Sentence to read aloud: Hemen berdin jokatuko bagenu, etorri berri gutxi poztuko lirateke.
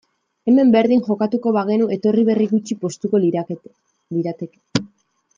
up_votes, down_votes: 1, 2